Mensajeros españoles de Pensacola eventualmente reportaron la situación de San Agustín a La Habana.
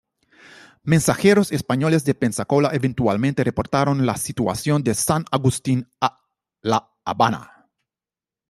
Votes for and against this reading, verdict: 2, 0, accepted